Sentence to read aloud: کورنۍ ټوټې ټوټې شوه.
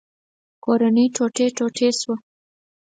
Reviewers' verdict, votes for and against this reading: accepted, 4, 0